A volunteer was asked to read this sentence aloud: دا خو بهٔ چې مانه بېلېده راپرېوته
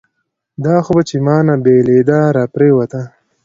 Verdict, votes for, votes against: rejected, 1, 2